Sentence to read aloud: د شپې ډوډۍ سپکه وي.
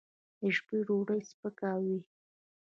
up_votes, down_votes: 1, 2